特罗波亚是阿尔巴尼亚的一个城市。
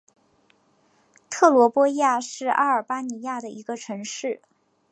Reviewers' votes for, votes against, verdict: 8, 0, accepted